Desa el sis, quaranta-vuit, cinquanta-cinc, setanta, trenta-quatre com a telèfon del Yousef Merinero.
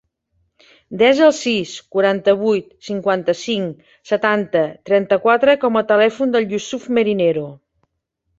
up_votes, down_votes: 0, 2